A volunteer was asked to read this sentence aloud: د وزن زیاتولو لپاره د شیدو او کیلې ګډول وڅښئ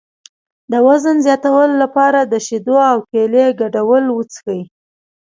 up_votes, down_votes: 2, 0